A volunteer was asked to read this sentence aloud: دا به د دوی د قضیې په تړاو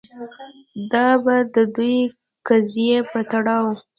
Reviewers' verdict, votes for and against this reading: rejected, 0, 2